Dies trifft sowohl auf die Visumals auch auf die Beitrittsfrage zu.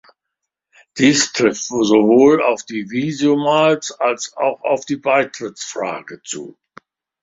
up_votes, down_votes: 1, 2